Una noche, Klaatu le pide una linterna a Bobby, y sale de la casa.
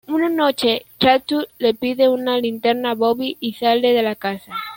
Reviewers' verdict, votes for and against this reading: accepted, 2, 0